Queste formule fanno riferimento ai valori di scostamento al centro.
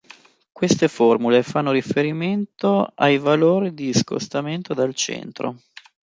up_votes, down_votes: 3, 1